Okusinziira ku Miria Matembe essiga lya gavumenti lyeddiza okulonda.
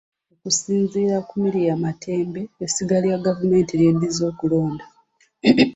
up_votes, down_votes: 2, 0